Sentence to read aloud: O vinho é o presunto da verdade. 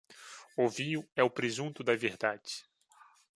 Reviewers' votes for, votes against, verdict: 2, 0, accepted